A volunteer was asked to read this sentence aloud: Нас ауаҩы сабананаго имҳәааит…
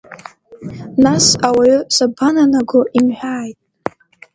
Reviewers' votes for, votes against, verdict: 2, 0, accepted